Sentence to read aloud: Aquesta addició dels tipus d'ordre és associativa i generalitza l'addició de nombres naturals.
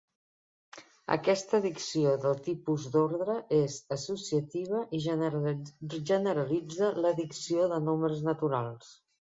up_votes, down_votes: 0, 2